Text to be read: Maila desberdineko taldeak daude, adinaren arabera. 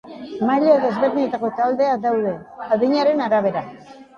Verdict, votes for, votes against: rejected, 0, 2